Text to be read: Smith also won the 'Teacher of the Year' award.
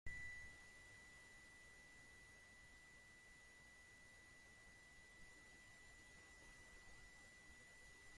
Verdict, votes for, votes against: rejected, 0, 2